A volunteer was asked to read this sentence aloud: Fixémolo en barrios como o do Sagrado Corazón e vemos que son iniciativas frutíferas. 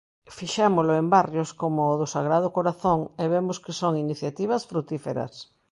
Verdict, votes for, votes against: accepted, 2, 0